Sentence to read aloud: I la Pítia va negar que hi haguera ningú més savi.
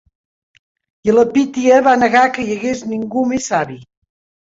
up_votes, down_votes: 0, 3